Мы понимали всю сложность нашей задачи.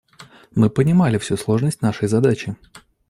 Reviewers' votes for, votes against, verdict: 2, 0, accepted